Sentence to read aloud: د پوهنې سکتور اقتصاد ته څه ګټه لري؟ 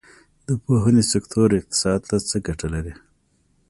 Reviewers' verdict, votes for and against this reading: accepted, 2, 0